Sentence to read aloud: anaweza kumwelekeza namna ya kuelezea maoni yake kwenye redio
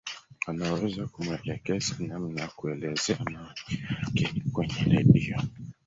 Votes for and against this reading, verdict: 0, 3, rejected